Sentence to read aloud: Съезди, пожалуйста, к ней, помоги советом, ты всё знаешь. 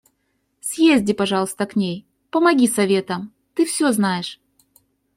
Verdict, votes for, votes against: accepted, 2, 0